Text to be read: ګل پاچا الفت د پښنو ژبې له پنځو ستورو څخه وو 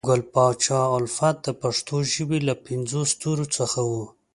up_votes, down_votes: 2, 0